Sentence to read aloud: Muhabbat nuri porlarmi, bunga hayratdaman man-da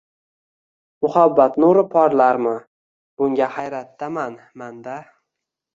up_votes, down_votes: 2, 0